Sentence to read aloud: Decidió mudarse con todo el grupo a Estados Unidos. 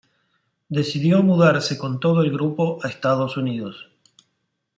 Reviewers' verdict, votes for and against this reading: accepted, 2, 0